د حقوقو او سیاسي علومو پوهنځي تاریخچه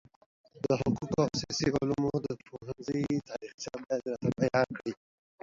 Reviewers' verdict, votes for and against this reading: rejected, 1, 2